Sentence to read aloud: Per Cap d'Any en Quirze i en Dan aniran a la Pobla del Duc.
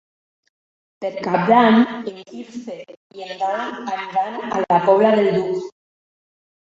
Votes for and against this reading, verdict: 2, 1, accepted